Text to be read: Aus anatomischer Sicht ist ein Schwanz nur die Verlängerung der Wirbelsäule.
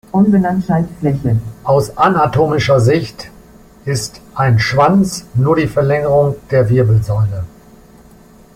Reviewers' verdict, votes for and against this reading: rejected, 0, 3